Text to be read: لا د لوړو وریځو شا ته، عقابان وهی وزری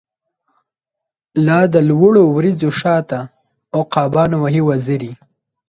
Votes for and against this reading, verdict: 2, 0, accepted